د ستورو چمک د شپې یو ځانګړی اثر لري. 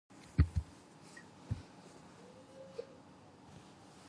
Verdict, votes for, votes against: rejected, 0, 4